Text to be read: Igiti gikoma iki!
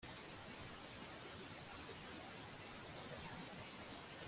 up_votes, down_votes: 0, 2